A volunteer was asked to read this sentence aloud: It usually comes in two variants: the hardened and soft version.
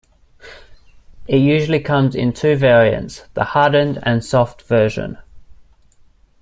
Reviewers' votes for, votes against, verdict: 2, 0, accepted